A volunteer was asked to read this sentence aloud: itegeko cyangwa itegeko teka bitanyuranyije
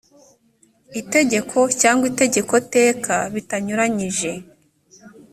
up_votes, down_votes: 2, 0